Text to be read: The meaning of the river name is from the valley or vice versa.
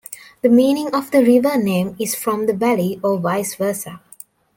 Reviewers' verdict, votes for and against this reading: accepted, 2, 0